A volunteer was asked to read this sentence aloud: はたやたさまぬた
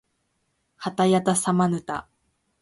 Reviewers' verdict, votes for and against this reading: accepted, 2, 0